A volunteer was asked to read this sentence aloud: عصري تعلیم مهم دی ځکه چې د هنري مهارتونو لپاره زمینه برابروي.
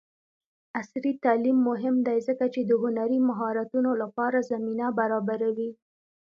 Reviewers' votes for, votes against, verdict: 2, 0, accepted